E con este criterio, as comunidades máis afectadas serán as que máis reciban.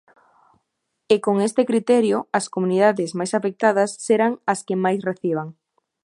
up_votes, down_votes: 2, 0